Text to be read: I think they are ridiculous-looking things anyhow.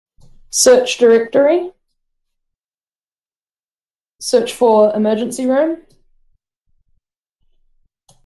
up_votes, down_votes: 0, 2